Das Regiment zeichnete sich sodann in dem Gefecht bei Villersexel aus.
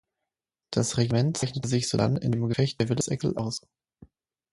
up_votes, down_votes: 3, 6